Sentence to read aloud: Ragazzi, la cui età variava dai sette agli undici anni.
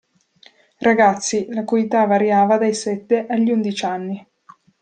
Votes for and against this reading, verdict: 0, 2, rejected